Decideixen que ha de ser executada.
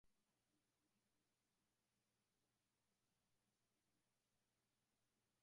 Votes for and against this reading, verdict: 1, 2, rejected